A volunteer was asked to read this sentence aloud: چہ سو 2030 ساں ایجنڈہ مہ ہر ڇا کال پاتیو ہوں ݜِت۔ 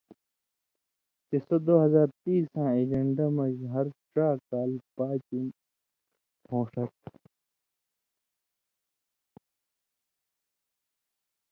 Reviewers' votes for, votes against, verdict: 0, 2, rejected